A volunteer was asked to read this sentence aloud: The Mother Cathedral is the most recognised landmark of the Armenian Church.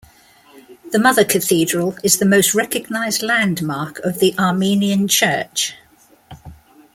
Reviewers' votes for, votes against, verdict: 2, 0, accepted